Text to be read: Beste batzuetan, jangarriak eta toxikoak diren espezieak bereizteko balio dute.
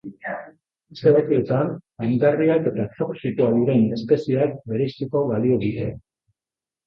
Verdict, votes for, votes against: rejected, 0, 2